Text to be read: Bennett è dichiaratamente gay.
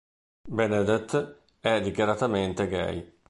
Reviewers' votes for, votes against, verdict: 0, 2, rejected